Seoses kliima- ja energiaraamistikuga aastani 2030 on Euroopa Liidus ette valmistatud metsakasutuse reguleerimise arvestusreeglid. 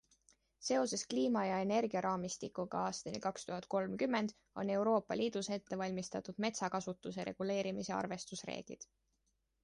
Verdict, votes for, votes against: rejected, 0, 2